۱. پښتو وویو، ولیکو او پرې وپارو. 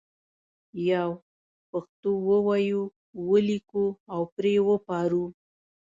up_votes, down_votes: 0, 2